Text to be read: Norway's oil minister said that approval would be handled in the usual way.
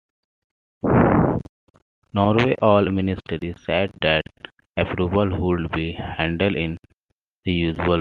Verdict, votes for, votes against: accepted, 2, 1